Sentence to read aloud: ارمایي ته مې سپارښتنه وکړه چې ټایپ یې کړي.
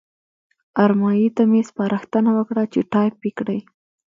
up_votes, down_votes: 2, 0